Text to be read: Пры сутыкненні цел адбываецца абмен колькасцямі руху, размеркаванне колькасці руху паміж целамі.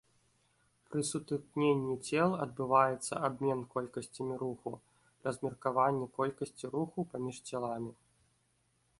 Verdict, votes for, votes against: rejected, 1, 2